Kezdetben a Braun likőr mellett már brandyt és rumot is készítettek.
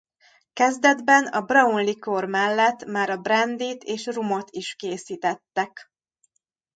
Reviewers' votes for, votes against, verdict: 0, 2, rejected